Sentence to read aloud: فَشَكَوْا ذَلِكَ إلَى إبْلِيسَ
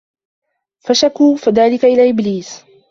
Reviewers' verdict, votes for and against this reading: rejected, 0, 2